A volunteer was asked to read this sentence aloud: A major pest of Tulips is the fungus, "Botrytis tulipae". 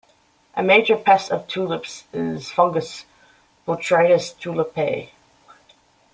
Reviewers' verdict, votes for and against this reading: rejected, 0, 2